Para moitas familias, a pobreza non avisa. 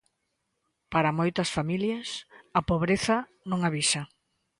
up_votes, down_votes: 2, 0